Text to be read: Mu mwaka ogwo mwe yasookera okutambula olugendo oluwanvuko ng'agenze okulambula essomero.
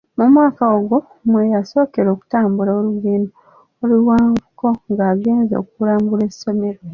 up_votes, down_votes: 2, 1